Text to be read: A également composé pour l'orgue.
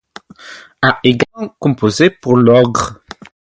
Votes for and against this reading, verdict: 0, 2, rejected